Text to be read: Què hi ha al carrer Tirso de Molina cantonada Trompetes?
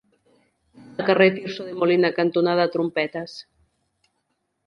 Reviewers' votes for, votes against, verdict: 0, 2, rejected